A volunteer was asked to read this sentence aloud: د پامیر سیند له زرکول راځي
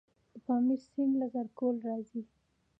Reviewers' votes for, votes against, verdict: 3, 0, accepted